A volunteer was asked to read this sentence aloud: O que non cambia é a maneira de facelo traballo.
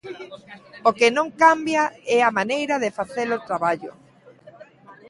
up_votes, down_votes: 2, 0